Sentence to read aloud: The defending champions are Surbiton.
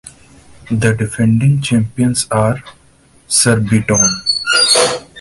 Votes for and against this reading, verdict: 2, 0, accepted